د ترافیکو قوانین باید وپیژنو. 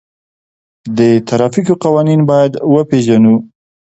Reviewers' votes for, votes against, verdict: 2, 0, accepted